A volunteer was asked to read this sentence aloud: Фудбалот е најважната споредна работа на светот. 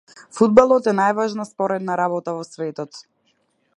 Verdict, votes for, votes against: rejected, 0, 2